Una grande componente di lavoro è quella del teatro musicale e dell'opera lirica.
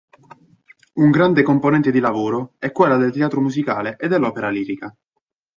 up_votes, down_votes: 1, 2